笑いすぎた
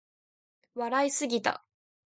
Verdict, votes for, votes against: accepted, 2, 0